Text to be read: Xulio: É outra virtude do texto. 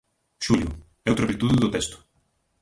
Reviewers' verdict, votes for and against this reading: rejected, 0, 3